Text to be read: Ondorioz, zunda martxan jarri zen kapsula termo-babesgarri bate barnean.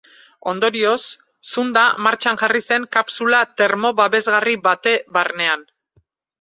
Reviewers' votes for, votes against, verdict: 4, 0, accepted